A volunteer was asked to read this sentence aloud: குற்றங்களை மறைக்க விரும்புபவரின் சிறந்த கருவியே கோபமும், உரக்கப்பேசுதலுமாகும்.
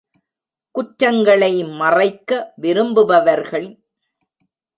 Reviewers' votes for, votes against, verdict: 0, 2, rejected